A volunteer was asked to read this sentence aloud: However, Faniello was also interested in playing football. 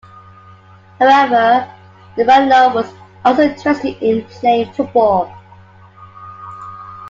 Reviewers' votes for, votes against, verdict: 2, 1, accepted